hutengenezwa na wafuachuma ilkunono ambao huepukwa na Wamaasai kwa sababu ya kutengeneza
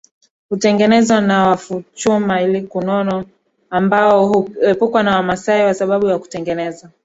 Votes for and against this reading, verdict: 2, 1, accepted